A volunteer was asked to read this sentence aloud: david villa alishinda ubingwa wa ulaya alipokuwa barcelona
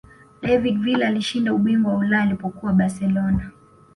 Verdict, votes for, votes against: accepted, 2, 0